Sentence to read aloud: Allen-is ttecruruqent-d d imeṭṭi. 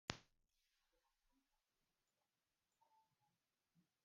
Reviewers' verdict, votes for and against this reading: rejected, 0, 2